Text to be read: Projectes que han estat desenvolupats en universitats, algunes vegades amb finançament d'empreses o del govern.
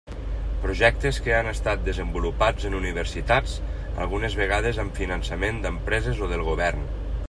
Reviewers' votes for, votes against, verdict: 3, 0, accepted